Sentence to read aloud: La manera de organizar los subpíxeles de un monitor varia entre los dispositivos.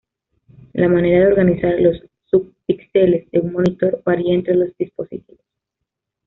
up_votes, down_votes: 1, 2